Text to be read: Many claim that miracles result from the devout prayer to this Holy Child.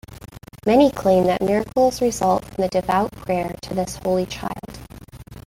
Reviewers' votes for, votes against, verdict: 2, 1, accepted